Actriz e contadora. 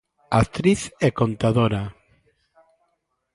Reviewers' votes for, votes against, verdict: 2, 0, accepted